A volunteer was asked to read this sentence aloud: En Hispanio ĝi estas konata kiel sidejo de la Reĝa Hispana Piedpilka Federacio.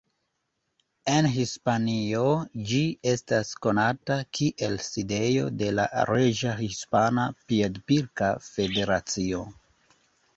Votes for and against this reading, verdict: 2, 0, accepted